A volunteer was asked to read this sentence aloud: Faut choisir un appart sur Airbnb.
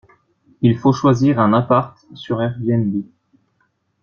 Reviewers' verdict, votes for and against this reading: rejected, 1, 2